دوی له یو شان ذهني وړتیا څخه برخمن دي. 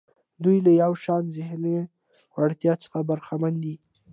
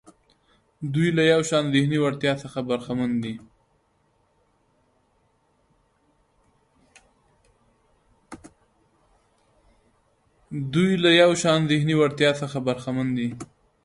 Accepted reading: first